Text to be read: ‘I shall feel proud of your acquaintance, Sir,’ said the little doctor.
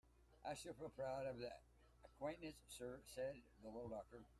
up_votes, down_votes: 1, 2